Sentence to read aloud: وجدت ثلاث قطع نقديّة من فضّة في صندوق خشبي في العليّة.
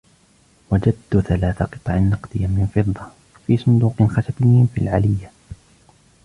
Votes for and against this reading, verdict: 1, 2, rejected